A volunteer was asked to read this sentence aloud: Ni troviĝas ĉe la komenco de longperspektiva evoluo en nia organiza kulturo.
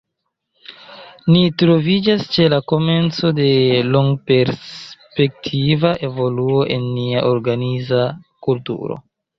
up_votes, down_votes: 2, 1